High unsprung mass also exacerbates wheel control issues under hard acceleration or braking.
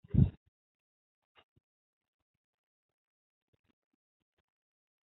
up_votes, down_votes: 0, 2